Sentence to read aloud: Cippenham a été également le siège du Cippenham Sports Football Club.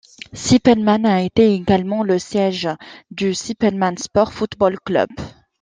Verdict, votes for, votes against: rejected, 0, 2